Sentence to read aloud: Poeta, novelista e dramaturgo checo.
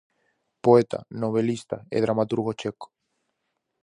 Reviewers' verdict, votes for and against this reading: accepted, 4, 0